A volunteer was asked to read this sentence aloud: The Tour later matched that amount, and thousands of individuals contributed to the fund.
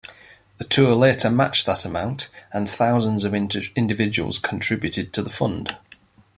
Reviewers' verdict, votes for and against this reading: accepted, 2, 0